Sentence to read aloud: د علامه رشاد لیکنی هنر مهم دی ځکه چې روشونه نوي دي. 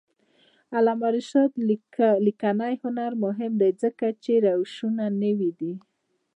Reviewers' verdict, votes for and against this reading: accepted, 2, 0